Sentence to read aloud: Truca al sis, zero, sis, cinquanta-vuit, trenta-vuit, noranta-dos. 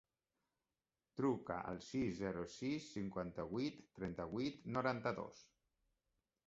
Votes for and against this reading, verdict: 4, 1, accepted